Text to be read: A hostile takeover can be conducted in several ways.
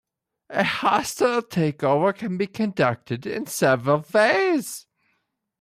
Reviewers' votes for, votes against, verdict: 0, 2, rejected